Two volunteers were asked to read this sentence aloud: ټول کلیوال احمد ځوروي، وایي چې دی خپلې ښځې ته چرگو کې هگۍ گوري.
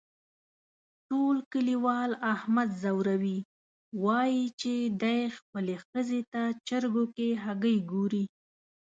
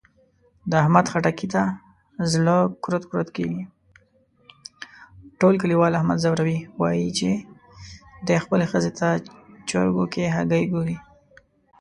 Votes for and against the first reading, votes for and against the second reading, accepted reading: 2, 0, 0, 2, first